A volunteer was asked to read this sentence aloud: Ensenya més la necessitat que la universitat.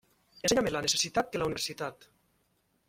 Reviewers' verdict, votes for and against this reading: rejected, 1, 2